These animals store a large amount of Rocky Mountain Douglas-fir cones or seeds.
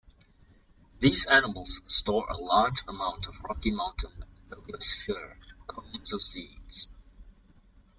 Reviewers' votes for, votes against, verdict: 1, 2, rejected